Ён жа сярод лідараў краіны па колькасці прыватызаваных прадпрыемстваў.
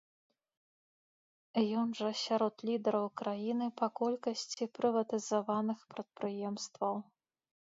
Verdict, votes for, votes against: accepted, 2, 0